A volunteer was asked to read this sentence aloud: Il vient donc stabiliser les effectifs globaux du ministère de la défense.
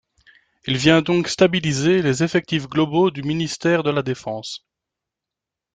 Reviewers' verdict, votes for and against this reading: accepted, 2, 0